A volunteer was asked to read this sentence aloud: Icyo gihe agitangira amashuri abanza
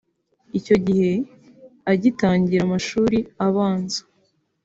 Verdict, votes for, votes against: accepted, 3, 0